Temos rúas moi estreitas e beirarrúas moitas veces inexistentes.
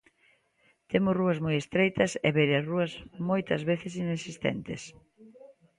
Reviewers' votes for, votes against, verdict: 2, 0, accepted